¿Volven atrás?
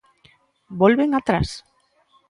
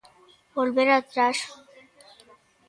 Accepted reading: first